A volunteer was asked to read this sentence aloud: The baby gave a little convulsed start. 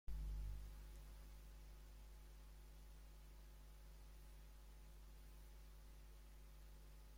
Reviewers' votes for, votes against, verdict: 0, 2, rejected